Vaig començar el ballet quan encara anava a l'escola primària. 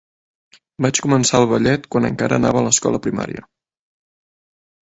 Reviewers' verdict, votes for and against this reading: accepted, 2, 0